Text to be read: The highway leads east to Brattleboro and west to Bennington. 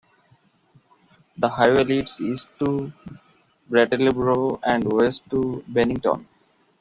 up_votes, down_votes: 2, 0